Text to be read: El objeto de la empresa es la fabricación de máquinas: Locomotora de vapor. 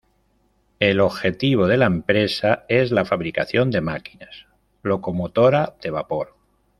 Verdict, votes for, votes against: rejected, 1, 2